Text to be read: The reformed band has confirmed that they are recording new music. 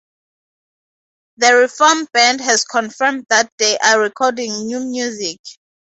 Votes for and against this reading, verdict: 4, 0, accepted